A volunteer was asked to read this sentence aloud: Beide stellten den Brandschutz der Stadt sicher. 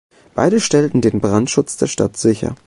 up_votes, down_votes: 2, 0